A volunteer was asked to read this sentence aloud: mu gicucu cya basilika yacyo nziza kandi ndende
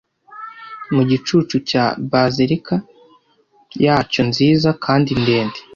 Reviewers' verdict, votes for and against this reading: accepted, 2, 1